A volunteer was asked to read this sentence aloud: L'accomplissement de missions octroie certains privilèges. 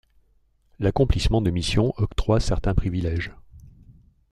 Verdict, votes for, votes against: accepted, 2, 0